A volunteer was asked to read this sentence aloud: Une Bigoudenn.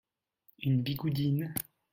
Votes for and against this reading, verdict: 0, 2, rejected